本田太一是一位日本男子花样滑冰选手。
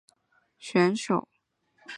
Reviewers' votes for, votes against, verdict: 0, 2, rejected